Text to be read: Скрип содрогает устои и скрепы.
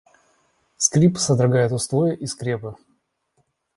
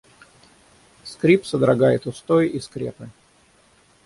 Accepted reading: first